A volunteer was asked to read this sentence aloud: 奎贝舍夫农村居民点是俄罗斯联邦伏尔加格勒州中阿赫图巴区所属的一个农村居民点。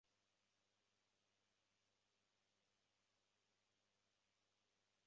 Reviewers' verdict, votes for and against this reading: rejected, 1, 2